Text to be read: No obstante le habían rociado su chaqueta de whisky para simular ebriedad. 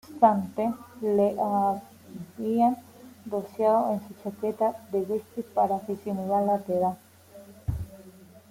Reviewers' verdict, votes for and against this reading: rejected, 0, 2